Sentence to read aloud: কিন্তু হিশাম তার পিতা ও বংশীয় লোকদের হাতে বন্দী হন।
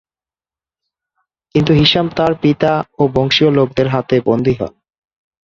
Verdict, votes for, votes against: accepted, 5, 0